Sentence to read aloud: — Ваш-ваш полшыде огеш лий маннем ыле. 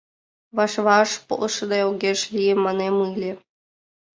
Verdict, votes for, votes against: rejected, 0, 2